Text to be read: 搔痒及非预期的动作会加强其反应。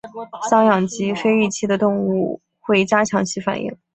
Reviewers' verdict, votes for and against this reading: accepted, 4, 0